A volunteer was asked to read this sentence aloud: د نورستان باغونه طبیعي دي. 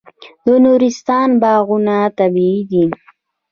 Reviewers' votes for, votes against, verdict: 2, 0, accepted